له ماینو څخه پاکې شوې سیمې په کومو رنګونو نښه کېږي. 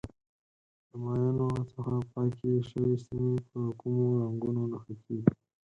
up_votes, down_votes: 2, 4